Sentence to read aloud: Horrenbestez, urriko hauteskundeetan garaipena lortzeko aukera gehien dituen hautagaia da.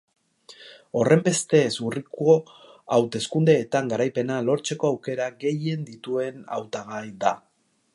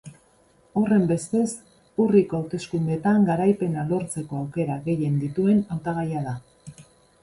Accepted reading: second